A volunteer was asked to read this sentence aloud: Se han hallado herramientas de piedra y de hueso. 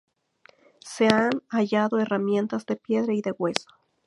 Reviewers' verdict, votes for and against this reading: rejected, 2, 2